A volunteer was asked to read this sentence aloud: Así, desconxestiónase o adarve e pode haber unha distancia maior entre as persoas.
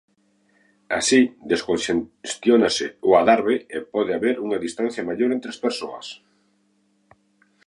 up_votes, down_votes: 0, 2